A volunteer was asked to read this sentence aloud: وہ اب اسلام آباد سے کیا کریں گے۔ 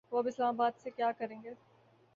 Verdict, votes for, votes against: accepted, 5, 0